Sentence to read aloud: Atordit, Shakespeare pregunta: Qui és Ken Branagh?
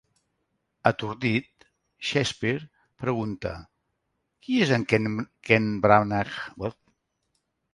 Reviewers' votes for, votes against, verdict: 0, 2, rejected